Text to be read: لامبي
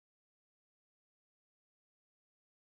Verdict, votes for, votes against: accepted, 4, 2